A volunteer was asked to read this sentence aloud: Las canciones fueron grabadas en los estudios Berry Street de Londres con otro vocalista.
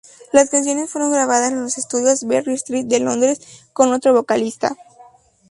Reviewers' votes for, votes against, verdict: 0, 2, rejected